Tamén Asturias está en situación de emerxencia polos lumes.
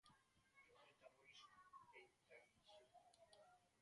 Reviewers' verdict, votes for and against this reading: rejected, 0, 2